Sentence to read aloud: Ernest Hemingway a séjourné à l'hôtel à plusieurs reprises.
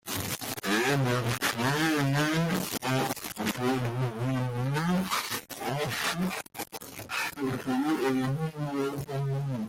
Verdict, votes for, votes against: rejected, 0, 2